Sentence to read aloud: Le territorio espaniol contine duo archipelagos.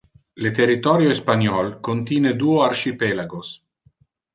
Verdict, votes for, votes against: rejected, 1, 2